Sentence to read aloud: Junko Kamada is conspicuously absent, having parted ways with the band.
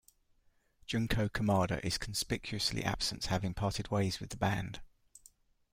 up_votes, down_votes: 3, 0